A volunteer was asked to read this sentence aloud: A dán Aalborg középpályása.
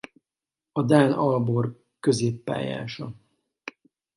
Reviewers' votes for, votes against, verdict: 4, 0, accepted